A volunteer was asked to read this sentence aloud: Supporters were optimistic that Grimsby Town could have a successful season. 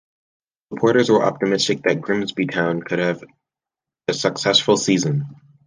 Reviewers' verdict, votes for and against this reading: rejected, 0, 2